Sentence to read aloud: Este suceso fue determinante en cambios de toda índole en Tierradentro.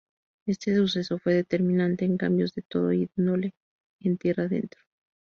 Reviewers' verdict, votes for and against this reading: accepted, 2, 0